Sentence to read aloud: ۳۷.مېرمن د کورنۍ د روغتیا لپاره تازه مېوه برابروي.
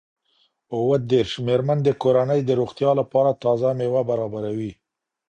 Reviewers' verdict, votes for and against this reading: rejected, 0, 2